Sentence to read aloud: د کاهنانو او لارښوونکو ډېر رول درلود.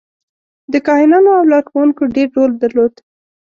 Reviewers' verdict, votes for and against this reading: rejected, 1, 2